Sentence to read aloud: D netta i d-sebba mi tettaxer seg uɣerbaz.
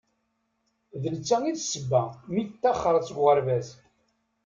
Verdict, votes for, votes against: accepted, 2, 0